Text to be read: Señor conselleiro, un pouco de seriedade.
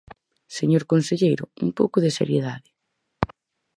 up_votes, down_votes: 4, 0